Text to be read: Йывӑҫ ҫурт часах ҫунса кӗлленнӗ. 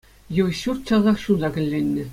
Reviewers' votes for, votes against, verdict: 2, 0, accepted